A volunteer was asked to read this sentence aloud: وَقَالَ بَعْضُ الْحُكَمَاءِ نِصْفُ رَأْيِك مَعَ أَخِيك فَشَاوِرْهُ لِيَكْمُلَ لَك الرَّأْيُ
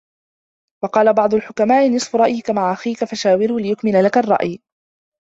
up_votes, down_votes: 0, 2